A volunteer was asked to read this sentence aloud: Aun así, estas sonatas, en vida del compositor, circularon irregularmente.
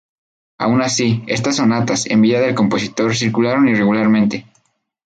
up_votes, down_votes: 0, 2